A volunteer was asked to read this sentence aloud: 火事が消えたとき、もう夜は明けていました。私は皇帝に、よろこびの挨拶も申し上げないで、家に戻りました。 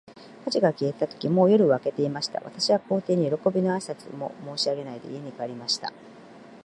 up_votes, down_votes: 1, 2